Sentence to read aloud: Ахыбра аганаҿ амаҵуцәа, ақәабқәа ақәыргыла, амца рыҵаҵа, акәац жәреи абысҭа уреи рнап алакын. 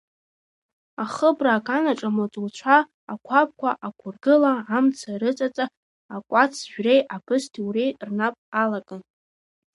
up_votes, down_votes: 2, 0